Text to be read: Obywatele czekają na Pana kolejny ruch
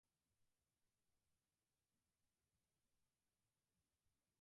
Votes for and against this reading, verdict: 2, 4, rejected